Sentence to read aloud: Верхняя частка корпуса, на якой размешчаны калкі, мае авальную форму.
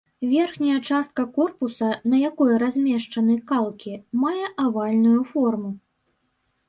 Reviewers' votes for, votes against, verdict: 0, 2, rejected